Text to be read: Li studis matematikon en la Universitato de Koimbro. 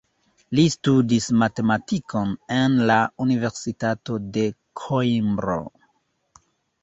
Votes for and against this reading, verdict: 2, 0, accepted